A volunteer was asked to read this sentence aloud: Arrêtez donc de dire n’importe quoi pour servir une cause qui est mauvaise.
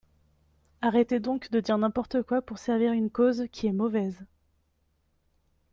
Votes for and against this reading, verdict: 2, 1, accepted